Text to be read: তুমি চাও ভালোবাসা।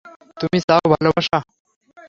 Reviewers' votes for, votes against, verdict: 0, 3, rejected